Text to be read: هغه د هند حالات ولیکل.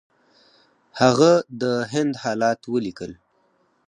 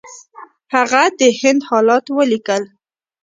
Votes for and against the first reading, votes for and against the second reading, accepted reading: 4, 0, 0, 2, first